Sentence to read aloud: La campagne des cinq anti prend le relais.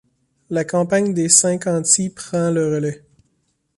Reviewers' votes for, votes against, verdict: 2, 0, accepted